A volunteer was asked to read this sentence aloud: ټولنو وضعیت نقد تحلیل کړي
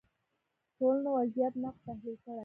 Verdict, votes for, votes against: rejected, 0, 2